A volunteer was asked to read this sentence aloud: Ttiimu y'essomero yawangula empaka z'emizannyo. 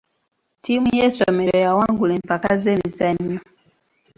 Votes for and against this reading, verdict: 2, 1, accepted